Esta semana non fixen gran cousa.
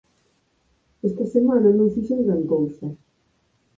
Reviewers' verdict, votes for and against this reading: rejected, 2, 4